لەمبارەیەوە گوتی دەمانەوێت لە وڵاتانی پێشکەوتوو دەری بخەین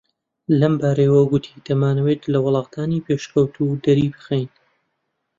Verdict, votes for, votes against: accepted, 2, 0